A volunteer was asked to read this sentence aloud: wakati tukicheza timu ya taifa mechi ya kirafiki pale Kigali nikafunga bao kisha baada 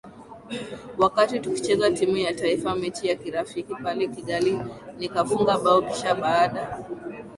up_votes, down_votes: 1, 2